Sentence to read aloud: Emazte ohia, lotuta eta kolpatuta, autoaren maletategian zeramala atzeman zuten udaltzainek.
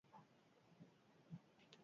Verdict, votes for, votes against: rejected, 0, 8